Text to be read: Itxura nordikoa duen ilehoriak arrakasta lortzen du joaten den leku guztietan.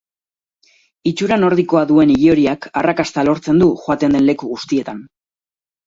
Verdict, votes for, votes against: accepted, 6, 0